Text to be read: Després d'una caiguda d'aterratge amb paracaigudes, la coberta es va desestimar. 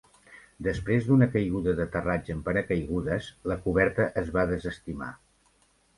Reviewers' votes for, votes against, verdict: 2, 0, accepted